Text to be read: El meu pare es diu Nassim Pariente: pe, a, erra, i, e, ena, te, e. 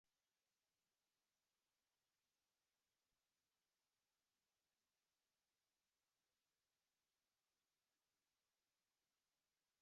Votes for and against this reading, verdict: 0, 2, rejected